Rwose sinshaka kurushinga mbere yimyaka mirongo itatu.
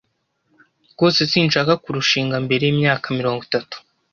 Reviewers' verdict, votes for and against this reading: accepted, 2, 0